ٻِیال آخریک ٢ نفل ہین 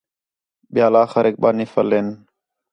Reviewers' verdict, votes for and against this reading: rejected, 0, 2